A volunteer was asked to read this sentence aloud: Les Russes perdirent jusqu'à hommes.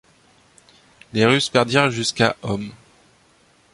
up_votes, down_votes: 2, 0